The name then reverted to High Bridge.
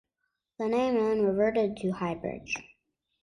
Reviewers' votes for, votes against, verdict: 2, 0, accepted